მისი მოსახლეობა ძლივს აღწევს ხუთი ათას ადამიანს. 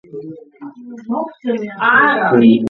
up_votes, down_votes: 0, 2